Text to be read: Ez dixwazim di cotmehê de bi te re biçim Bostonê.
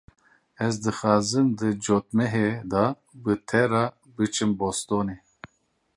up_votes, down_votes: 1, 2